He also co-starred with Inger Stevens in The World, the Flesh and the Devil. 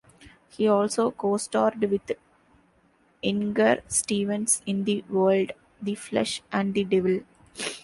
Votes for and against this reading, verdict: 1, 2, rejected